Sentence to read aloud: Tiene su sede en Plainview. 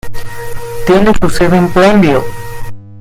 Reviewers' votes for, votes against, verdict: 1, 2, rejected